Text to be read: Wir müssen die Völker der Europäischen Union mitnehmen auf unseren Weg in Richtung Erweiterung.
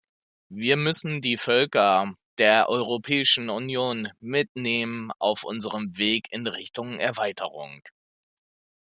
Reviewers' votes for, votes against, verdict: 2, 0, accepted